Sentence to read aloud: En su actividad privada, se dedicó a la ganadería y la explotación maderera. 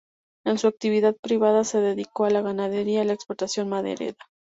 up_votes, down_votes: 0, 2